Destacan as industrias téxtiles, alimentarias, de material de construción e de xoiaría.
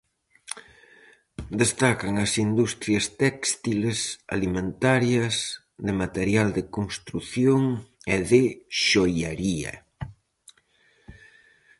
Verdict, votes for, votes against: accepted, 4, 0